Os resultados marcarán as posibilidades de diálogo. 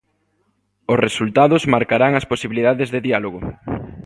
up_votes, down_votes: 2, 0